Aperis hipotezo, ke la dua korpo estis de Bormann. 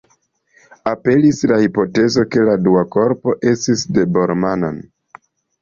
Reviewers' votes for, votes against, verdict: 1, 2, rejected